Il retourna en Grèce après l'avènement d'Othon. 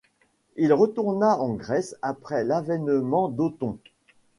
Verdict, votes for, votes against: rejected, 0, 2